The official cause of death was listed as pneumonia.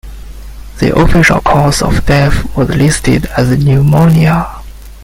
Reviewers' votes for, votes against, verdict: 1, 2, rejected